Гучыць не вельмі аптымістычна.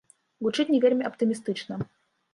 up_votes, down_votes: 2, 0